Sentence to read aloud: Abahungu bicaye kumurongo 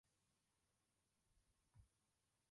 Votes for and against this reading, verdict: 0, 2, rejected